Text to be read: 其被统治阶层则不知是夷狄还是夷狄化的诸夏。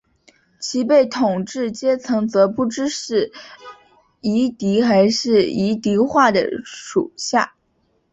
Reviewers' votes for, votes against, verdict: 6, 0, accepted